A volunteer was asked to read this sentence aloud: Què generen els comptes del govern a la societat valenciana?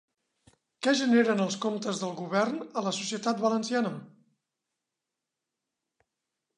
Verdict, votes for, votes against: accepted, 3, 0